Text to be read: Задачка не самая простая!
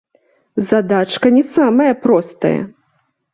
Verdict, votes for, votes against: accepted, 2, 0